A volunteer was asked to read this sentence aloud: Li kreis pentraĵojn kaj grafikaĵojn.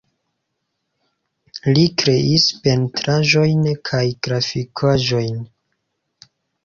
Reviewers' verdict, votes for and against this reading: accepted, 2, 1